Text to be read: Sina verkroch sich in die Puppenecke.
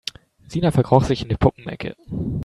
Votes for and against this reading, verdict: 2, 1, accepted